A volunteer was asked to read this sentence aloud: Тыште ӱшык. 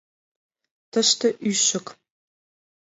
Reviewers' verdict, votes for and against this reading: accepted, 2, 0